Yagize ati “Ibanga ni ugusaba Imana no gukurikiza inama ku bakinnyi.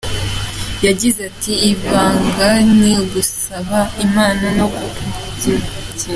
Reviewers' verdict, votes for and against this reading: rejected, 0, 2